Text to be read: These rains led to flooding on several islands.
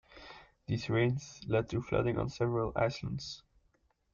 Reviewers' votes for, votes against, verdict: 0, 2, rejected